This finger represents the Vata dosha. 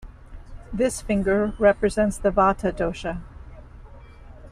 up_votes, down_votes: 2, 0